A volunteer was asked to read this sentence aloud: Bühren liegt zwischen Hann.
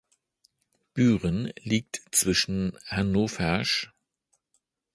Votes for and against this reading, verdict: 0, 2, rejected